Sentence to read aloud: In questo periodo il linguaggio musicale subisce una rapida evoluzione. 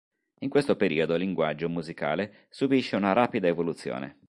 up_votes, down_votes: 3, 0